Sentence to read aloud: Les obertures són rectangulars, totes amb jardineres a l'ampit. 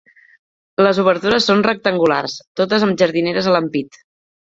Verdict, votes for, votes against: accepted, 3, 0